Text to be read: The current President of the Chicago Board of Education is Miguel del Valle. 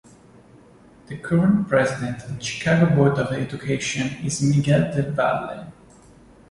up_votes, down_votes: 0, 2